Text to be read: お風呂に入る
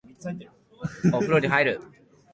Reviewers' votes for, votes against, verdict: 13, 0, accepted